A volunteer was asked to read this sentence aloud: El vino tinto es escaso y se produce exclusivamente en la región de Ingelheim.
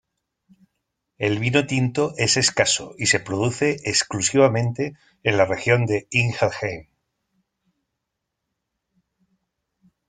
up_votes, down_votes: 0, 2